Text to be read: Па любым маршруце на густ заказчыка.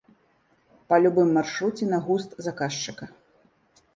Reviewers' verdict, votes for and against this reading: accepted, 2, 0